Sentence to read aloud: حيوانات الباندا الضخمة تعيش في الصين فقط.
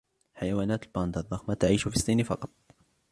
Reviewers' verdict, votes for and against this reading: accepted, 2, 0